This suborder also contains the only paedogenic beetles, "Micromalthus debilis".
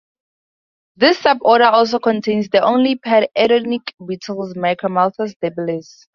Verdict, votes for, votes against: rejected, 2, 2